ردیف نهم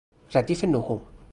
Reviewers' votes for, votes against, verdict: 0, 2, rejected